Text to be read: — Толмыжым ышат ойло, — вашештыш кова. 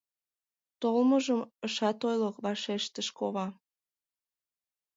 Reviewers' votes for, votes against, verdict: 2, 0, accepted